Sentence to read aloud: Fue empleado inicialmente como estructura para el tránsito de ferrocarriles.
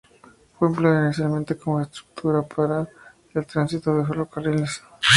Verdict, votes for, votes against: rejected, 0, 4